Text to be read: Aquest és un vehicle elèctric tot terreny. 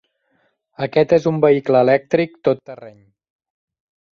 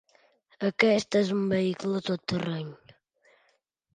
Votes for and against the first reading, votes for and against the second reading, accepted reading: 3, 1, 0, 2, first